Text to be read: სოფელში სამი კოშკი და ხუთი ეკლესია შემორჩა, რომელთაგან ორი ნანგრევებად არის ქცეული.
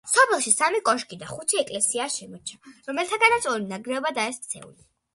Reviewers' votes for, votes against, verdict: 1, 2, rejected